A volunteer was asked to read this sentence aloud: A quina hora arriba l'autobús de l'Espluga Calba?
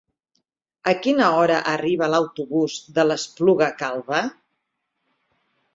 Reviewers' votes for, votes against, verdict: 6, 0, accepted